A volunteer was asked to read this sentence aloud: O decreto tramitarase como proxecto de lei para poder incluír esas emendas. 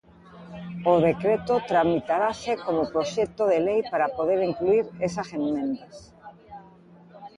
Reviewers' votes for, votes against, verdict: 0, 2, rejected